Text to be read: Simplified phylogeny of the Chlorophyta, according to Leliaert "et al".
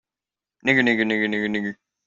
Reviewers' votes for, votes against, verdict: 0, 2, rejected